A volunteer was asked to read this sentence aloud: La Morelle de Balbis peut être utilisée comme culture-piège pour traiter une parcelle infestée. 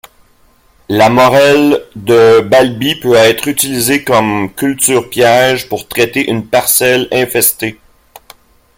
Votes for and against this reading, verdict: 2, 0, accepted